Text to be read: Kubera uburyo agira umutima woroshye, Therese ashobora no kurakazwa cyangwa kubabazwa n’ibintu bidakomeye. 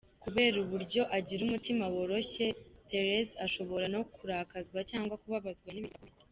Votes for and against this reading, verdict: 1, 2, rejected